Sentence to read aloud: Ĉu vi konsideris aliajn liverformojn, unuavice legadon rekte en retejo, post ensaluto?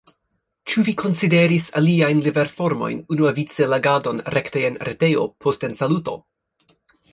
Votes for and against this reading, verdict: 2, 1, accepted